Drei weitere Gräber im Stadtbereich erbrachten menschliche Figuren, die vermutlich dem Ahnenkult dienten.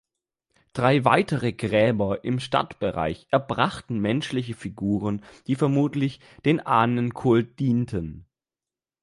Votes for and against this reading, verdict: 2, 0, accepted